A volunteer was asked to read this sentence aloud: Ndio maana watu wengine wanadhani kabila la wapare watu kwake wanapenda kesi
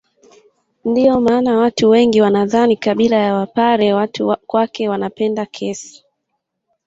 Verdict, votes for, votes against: rejected, 1, 2